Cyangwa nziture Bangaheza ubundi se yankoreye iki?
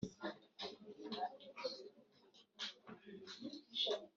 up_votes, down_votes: 1, 2